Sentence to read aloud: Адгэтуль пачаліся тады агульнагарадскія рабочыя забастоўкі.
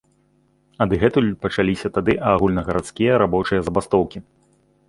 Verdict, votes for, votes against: accepted, 2, 1